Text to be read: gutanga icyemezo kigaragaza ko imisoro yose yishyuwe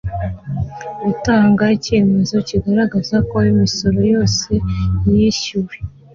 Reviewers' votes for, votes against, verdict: 2, 0, accepted